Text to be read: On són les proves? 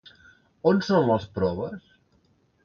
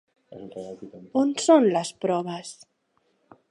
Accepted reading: first